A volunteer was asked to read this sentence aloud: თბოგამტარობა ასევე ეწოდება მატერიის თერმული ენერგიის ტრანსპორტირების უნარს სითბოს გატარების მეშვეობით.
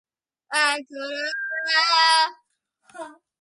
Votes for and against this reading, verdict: 0, 2, rejected